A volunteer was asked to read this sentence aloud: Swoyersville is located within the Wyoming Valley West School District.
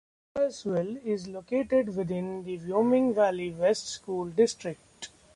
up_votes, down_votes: 2, 1